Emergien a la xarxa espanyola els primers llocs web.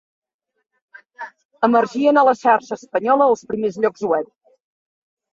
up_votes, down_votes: 2, 1